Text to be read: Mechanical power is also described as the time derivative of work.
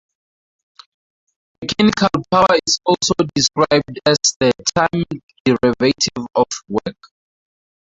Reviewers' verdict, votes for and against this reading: rejected, 0, 2